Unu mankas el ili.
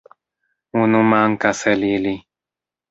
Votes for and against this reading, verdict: 1, 2, rejected